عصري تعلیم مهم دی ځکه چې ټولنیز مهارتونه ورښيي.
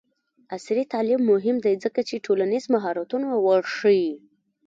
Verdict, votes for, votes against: rejected, 0, 2